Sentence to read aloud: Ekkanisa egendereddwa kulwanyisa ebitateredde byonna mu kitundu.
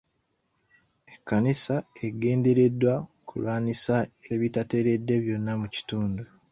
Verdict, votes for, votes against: accepted, 2, 0